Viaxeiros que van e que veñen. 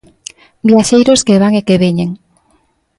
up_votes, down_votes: 2, 0